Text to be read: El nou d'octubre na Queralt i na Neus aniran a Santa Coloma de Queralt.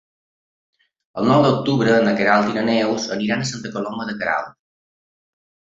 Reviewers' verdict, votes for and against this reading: accepted, 3, 0